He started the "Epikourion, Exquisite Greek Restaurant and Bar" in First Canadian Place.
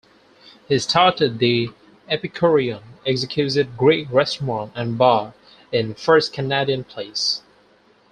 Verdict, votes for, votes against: accepted, 4, 2